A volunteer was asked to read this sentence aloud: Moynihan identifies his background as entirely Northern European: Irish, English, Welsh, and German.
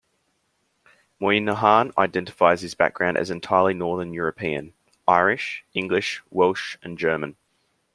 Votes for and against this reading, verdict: 2, 0, accepted